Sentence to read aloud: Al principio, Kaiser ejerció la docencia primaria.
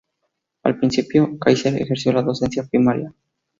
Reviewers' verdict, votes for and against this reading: accepted, 2, 0